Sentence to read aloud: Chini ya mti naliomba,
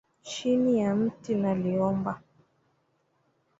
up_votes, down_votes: 2, 1